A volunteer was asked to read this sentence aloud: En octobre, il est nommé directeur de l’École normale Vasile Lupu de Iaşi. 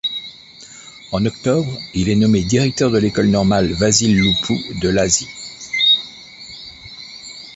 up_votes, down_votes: 1, 2